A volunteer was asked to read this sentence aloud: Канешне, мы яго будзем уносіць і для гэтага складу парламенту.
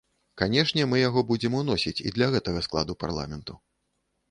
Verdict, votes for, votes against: accepted, 2, 0